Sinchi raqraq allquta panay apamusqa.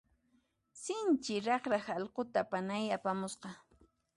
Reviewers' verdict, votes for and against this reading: rejected, 1, 2